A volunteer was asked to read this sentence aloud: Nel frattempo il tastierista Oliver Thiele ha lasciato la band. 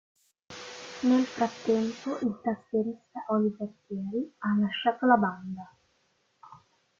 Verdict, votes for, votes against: rejected, 0, 2